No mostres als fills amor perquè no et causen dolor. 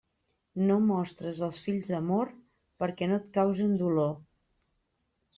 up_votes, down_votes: 2, 0